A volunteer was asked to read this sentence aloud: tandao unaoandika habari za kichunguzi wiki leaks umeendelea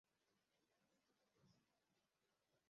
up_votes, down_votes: 0, 2